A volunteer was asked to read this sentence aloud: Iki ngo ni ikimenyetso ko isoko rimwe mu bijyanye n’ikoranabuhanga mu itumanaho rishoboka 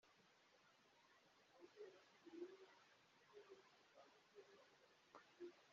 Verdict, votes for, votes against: rejected, 0, 2